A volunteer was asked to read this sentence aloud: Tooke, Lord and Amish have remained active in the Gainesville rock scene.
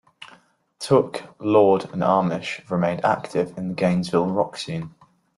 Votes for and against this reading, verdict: 2, 1, accepted